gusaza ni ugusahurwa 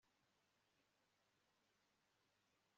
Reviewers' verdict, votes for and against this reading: rejected, 0, 2